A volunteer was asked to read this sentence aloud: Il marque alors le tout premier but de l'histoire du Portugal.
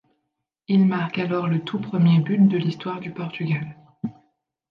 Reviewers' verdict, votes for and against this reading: rejected, 1, 2